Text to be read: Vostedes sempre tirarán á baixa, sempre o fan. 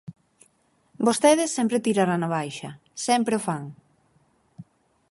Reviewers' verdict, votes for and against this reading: accepted, 4, 2